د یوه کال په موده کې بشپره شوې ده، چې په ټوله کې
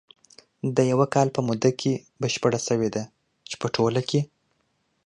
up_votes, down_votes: 2, 0